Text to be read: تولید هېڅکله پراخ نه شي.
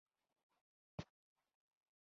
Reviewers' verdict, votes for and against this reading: accepted, 2, 1